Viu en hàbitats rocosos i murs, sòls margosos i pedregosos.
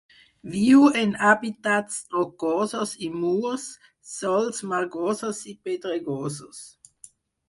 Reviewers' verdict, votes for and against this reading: accepted, 4, 2